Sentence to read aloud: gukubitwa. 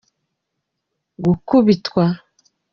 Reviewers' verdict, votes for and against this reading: accepted, 2, 0